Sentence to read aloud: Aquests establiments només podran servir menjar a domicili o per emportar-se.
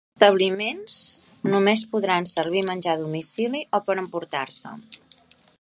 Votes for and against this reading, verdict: 1, 2, rejected